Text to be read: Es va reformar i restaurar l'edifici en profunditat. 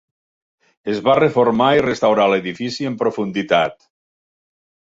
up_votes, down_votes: 3, 0